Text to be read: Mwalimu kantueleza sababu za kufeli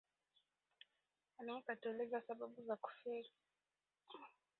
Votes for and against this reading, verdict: 0, 2, rejected